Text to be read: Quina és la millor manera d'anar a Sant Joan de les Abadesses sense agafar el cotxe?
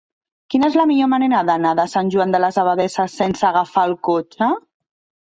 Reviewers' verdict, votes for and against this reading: rejected, 3, 4